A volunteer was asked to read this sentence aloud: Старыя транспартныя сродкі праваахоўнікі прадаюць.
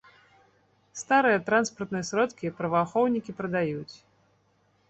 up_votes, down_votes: 1, 2